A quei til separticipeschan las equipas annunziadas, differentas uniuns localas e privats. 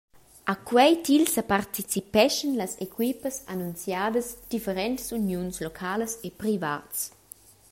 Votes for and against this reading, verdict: 1, 2, rejected